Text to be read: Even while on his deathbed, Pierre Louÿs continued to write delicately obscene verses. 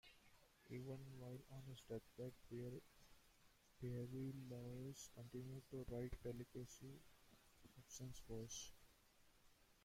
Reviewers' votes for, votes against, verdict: 1, 2, rejected